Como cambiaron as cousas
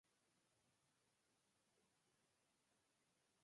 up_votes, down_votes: 0, 4